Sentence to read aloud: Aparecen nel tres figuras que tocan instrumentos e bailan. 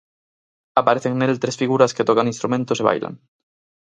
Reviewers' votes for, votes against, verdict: 4, 0, accepted